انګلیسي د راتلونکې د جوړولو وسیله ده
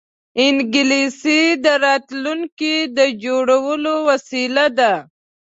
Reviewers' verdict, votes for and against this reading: accepted, 2, 0